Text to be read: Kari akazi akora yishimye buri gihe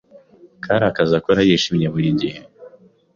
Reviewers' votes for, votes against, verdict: 2, 0, accepted